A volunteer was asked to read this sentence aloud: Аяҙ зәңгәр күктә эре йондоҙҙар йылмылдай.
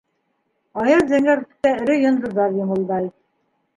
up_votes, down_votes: 1, 2